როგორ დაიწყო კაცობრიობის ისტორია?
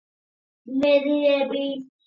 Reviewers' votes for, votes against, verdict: 0, 3, rejected